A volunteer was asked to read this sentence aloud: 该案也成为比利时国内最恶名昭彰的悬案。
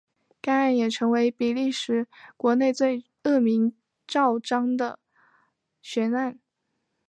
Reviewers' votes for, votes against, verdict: 2, 0, accepted